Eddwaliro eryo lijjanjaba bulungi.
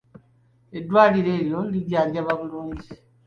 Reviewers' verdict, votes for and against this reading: accepted, 3, 0